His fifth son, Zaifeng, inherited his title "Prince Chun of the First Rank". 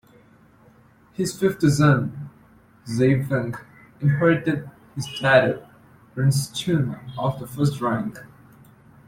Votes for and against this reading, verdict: 0, 2, rejected